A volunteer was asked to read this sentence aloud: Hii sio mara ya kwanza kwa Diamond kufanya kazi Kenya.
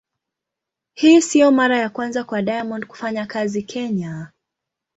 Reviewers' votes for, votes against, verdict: 2, 0, accepted